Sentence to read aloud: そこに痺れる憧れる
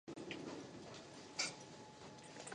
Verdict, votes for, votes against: rejected, 0, 2